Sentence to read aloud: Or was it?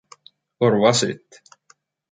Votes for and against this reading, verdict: 2, 1, accepted